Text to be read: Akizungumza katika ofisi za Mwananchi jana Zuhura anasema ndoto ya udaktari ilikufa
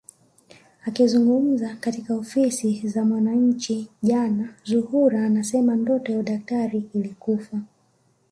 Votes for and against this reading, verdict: 1, 2, rejected